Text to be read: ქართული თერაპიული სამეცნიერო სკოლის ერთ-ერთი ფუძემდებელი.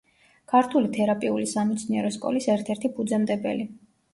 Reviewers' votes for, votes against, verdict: 2, 0, accepted